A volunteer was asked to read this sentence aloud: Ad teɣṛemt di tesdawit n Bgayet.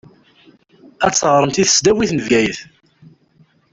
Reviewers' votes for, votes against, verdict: 2, 0, accepted